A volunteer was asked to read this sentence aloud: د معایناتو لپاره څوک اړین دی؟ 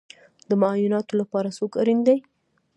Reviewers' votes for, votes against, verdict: 1, 2, rejected